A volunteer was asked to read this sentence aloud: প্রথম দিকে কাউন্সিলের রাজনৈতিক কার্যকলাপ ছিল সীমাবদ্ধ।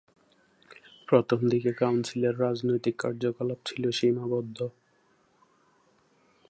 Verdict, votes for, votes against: accepted, 2, 0